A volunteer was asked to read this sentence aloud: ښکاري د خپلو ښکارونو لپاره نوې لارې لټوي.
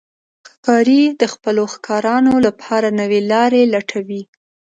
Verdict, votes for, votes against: rejected, 0, 2